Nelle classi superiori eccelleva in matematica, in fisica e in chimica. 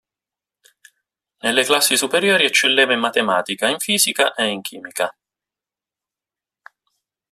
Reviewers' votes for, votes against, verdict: 2, 0, accepted